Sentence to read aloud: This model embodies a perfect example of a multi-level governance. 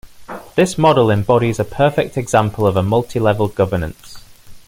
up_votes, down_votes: 2, 0